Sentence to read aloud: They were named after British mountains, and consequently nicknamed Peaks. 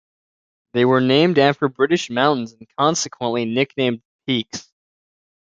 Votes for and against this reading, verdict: 2, 0, accepted